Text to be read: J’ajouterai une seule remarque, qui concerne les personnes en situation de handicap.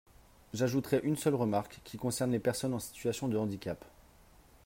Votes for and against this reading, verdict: 3, 0, accepted